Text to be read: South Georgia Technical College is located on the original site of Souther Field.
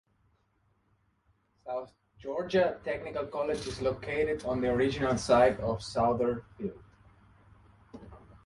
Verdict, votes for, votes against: accepted, 2, 0